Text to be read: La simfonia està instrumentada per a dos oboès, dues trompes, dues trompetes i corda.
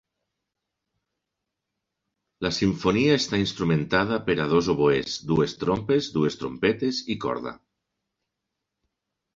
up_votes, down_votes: 3, 0